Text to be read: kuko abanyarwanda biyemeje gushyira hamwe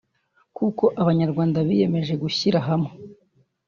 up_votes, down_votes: 0, 2